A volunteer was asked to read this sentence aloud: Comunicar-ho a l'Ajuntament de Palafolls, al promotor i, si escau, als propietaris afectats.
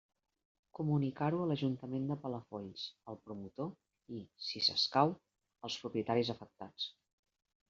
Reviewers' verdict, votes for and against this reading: rejected, 1, 2